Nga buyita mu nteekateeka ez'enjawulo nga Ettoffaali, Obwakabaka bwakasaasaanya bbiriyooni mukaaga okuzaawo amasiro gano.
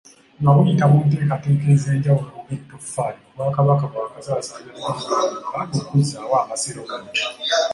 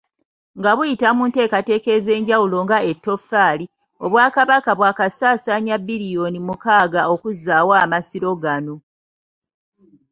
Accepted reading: second